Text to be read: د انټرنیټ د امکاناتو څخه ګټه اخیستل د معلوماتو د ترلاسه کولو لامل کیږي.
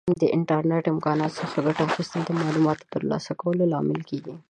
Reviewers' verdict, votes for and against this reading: accepted, 2, 1